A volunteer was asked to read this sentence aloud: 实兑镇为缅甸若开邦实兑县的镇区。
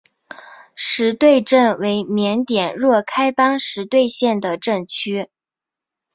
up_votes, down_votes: 3, 1